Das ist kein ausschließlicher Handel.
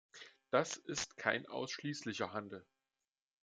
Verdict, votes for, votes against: accepted, 2, 0